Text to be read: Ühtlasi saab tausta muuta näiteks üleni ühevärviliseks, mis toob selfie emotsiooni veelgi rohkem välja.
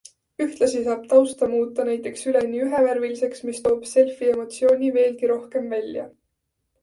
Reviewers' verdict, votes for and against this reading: accepted, 2, 0